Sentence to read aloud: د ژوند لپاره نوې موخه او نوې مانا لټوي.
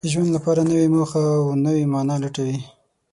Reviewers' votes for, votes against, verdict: 3, 6, rejected